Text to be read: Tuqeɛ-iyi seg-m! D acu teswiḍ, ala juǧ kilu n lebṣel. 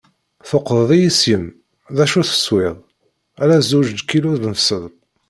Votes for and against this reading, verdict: 1, 2, rejected